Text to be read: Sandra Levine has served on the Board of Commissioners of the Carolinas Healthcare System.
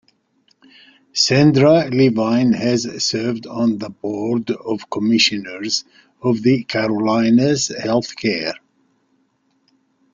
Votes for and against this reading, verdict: 0, 3, rejected